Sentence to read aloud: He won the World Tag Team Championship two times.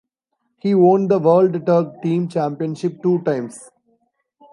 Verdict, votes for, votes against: accepted, 2, 1